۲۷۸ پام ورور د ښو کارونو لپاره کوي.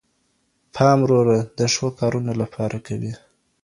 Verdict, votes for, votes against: rejected, 0, 2